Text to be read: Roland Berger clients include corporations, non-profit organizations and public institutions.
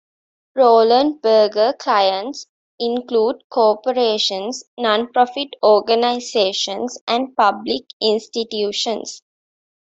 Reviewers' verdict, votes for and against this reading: accepted, 2, 0